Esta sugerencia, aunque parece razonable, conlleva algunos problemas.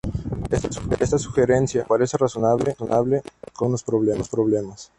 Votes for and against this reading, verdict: 0, 8, rejected